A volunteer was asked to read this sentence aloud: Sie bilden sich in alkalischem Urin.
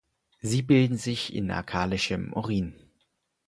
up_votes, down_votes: 4, 0